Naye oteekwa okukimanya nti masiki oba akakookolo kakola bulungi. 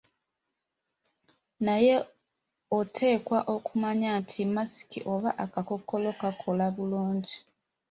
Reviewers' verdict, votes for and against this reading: rejected, 0, 2